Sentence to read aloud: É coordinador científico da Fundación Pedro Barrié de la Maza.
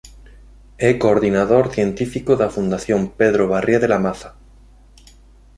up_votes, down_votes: 2, 0